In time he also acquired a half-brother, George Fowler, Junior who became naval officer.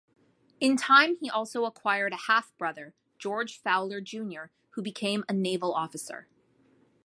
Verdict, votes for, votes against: rejected, 0, 2